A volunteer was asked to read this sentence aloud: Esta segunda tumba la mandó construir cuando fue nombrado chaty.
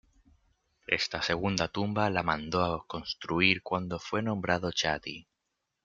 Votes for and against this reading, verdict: 2, 1, accepted